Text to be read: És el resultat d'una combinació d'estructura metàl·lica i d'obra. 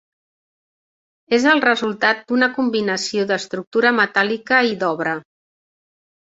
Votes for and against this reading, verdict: 2, 0, accepted